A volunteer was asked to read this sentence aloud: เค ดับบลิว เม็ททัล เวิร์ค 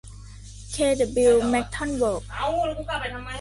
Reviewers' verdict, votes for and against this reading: rejected, 1, 2